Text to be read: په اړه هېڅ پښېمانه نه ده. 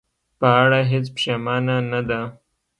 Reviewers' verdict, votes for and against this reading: accepted, 2, 0